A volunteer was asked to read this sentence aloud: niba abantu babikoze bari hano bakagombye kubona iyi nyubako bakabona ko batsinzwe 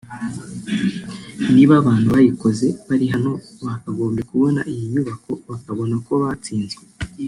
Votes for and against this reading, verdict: 1, 2, rejected